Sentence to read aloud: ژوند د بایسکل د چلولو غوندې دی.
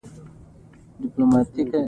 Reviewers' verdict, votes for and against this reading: rejected, 0, 2